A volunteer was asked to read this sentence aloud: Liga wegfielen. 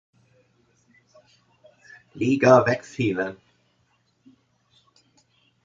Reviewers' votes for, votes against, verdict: 2, 1, accepted